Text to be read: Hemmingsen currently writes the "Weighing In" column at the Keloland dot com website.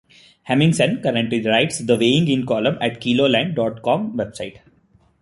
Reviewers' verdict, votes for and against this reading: accepted, 3, 0